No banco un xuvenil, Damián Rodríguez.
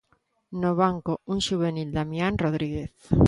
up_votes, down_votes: 3, 0